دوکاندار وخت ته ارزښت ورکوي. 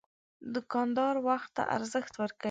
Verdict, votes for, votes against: rejected, 1, 2